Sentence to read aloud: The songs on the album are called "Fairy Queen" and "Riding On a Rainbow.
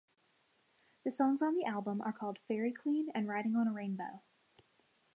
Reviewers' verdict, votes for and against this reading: accepted, 2, 0